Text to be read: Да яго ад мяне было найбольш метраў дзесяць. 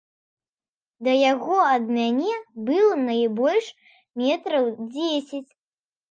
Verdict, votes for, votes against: accepted, 2, 0